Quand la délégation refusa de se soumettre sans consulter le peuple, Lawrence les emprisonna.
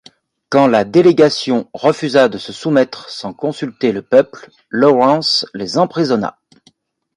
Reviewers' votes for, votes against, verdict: 2, 0, accepted